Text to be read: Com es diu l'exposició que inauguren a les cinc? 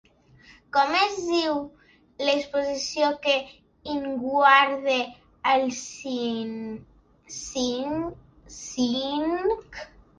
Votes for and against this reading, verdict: 0, 2, rejected